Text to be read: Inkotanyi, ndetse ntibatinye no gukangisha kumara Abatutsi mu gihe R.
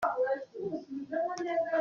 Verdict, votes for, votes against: rejected, 0, 2